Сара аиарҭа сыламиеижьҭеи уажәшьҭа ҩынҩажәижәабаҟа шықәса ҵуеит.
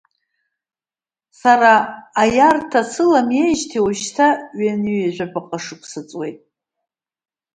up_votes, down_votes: 1, 2